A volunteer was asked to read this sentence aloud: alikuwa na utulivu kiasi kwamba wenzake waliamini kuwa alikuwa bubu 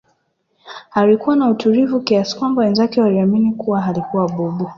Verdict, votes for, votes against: rejected, 1, 2